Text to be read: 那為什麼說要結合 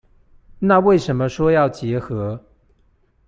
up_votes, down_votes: 2, 0